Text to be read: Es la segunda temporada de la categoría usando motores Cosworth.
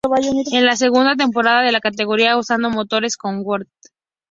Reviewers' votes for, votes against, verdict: 0, 2, rejected